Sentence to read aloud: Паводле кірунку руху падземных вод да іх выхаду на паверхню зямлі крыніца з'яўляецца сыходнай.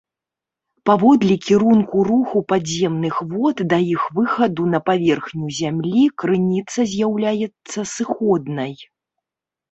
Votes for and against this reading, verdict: 1, 2, rejected